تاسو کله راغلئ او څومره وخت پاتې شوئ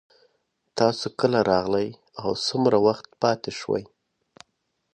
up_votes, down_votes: 2, 0